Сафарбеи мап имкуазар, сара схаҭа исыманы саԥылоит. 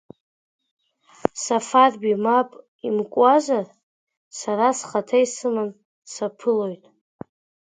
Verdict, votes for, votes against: accepted, 2, 1